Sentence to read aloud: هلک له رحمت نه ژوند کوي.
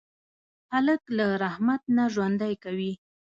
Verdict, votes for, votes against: rejected, 1, 2